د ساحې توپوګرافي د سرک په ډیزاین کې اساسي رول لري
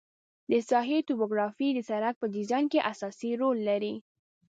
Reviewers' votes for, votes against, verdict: 2, 0, accepted